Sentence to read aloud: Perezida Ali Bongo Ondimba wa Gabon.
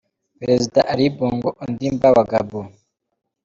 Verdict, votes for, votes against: accepted, 2, 0